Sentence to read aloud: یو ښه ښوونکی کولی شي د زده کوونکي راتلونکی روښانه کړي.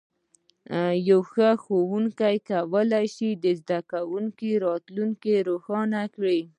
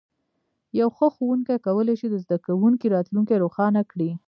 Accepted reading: first